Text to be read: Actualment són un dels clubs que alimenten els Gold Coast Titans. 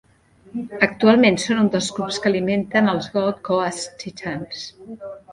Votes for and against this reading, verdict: 0, 2, rejected